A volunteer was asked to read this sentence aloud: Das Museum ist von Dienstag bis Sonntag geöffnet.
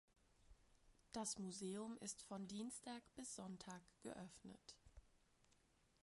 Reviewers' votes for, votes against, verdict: 1, 2, rejected